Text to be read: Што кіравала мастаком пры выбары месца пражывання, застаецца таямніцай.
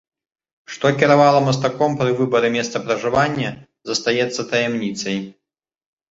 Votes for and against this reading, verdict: 2, 0, accepted